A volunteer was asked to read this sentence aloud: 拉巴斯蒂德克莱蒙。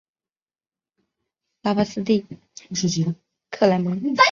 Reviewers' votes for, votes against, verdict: 0, 3, rejected